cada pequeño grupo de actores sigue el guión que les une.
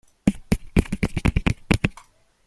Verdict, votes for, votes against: rejected, 0, 2